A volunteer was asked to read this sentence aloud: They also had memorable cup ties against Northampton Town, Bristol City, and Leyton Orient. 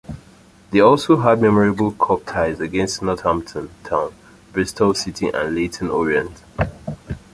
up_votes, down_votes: 1, 2